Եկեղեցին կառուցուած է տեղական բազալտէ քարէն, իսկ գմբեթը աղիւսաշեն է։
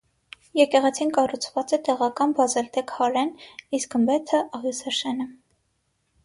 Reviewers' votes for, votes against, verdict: 6, 0, accepted